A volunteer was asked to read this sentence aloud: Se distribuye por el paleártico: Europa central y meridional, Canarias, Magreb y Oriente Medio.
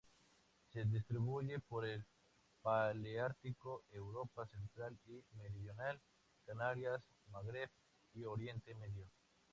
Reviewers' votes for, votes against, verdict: 2, 0, accepted